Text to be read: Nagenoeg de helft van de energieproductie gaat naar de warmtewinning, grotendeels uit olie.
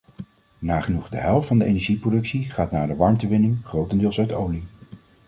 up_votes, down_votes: 2, 0